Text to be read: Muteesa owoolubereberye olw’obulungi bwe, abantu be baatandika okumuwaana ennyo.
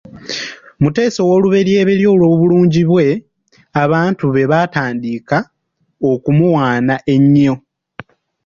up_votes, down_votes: 0, 2